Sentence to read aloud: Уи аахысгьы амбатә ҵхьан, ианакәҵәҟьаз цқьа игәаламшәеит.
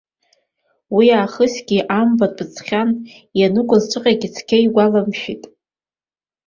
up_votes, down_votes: 3, 2